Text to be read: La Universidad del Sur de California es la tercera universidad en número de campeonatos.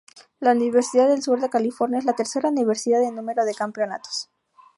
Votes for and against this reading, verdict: 2, 0, accepted